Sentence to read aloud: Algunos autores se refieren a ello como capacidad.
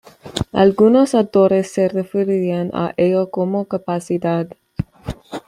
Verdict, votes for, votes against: accepted, 2, 1